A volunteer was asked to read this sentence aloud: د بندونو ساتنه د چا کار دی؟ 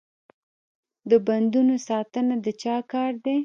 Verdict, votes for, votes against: rejected, 1, 2